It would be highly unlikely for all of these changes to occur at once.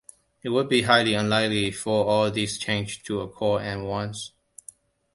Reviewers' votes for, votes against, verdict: 1, 2, rejected